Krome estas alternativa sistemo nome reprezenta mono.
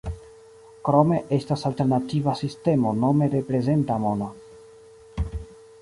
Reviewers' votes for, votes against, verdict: 2, 0, accepted